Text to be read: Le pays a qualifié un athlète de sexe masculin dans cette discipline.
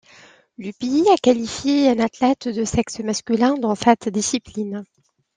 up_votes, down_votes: 2, 1